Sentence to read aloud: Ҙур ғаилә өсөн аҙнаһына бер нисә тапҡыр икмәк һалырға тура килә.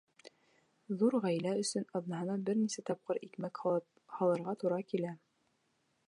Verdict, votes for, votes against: rejected, 0, 2